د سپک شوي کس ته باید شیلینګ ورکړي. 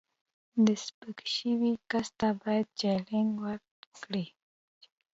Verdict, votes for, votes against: rejected, 1, 2